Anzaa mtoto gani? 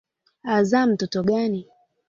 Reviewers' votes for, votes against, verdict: 3, 1, accepted